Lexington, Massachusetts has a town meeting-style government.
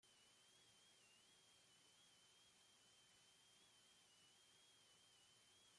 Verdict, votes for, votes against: rejected, 0, 2